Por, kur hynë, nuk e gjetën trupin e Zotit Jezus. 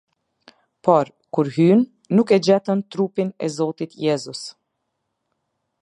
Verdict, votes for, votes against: accepted, 2, 0